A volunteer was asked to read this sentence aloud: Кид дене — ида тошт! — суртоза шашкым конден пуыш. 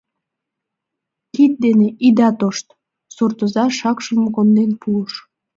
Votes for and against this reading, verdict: 1, 2, rejected